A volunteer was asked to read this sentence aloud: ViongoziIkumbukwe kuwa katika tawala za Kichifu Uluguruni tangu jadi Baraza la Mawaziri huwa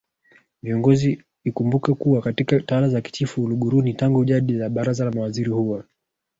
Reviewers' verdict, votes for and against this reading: accepted, 2, 1